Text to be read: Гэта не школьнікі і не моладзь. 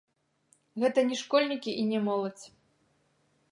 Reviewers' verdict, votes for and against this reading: accepted, 2, 0